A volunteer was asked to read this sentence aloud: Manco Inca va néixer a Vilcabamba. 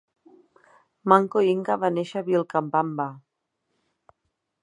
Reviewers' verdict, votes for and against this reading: rejected, 1, 3